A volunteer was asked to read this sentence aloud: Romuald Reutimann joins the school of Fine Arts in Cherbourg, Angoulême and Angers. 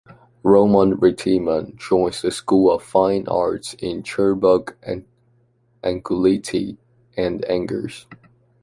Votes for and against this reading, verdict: 0, 2, rejected